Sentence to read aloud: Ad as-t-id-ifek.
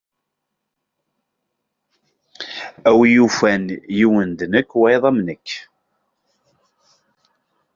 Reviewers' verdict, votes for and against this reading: rejected, 0, 2